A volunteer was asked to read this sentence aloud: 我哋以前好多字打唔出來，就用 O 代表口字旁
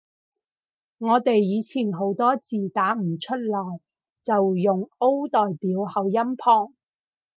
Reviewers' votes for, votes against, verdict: 2, 4, rejected